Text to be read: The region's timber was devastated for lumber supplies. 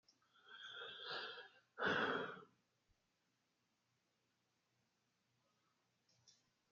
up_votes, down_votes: 0, 2